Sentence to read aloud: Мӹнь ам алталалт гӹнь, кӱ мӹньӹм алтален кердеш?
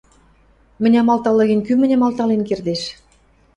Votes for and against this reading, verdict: 1, 2, rejected